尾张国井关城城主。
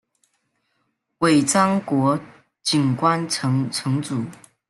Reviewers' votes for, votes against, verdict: 1, 2, rejected